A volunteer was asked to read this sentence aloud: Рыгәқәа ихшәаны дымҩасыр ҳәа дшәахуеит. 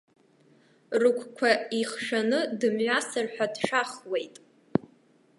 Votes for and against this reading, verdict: 2, 0, accepted